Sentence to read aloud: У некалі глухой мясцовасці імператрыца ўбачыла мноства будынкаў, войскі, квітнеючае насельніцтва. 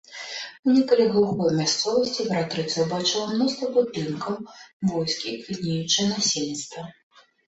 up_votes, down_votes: 2, 0